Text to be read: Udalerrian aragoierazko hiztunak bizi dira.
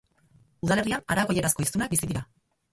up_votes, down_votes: 2, 4